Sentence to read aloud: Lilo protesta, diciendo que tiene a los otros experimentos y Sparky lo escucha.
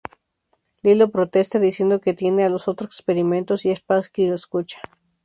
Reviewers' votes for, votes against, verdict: 2, 2, rejected